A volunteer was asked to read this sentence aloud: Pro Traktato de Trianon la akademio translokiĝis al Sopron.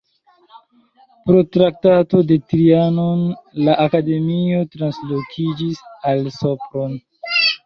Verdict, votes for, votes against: accepted, 2, 1